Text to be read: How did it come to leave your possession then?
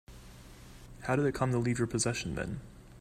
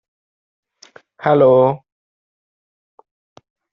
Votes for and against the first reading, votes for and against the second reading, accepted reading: 2, 0, 0, 2, first